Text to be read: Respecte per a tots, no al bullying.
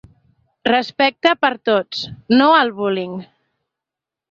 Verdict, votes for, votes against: accepted, 2, 0